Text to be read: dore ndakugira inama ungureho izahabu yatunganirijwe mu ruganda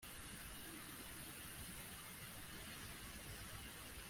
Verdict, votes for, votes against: rejected, 0, 2